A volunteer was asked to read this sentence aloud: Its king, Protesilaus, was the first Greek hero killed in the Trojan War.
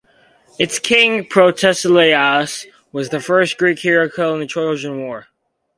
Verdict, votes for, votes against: accepted, 2, 0